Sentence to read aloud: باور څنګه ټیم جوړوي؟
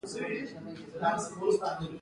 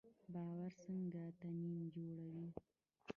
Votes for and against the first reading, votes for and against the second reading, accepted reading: 2, 0, 0, 2, first